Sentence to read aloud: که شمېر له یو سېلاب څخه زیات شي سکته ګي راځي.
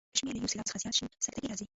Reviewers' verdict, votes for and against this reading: rejected, 0, 2